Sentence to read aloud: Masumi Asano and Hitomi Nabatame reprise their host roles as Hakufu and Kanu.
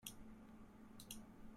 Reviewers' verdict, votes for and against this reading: rejected, 0, 2